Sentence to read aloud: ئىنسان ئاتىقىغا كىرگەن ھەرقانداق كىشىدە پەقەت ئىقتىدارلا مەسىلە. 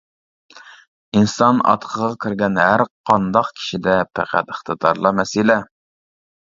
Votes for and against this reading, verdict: 2, 0, accepted